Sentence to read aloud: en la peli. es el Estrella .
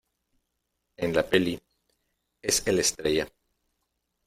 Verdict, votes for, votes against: accepted, 2, 0